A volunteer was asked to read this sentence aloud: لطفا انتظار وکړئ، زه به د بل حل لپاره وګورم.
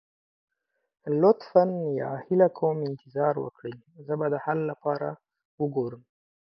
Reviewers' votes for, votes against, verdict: 0, 6, rejected